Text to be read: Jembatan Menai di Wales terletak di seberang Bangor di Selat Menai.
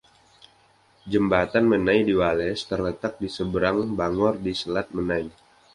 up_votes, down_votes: 2, 0